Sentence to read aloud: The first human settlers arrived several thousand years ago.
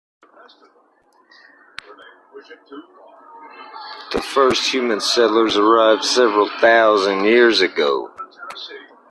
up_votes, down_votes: 1, 2